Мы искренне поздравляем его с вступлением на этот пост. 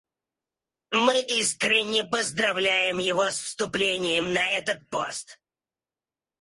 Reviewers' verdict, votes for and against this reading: rejected, 0, 4